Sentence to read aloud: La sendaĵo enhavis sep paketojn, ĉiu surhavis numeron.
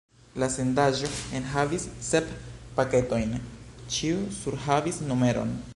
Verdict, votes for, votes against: accepted, 2, 1